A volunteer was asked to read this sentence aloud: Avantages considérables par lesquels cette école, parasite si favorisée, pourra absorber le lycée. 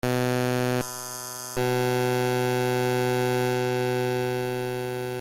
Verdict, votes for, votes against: rejected, 0, 2